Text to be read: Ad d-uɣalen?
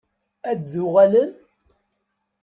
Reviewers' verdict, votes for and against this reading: accepted, 2, 0